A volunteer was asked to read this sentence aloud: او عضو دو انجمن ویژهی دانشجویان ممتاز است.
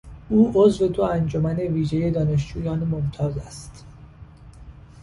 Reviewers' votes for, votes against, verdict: 3, 0, accepted